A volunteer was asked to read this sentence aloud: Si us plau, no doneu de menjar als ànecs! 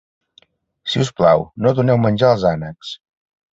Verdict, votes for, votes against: rejected, 1, 2